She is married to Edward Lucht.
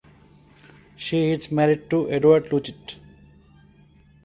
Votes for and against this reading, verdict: 2, 0, accepted